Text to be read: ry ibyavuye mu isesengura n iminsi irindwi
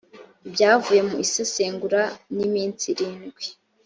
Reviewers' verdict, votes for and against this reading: rejected, 1, 2